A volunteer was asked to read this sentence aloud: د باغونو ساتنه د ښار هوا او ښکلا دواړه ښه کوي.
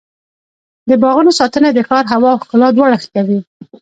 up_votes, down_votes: 1, 2